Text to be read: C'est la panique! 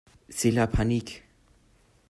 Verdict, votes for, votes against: accepted, 2, 0